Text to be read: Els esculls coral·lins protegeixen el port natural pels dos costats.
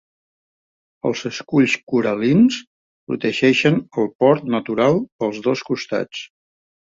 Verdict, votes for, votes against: accepted, 2, 0